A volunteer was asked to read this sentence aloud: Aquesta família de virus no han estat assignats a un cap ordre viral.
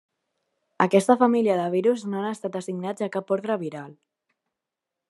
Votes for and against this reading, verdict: 2, 0, accepted